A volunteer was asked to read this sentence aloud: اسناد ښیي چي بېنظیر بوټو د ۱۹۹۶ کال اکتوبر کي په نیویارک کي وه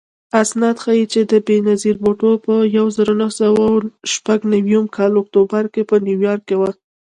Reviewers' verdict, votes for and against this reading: rejected, 0, 2